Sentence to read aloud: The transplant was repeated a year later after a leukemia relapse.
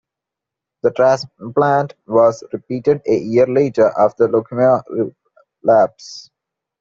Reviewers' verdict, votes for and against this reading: accepted, 2, 1